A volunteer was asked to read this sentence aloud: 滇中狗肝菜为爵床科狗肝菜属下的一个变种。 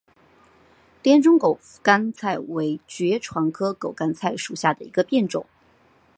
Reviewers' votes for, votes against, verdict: 2, 1, accepted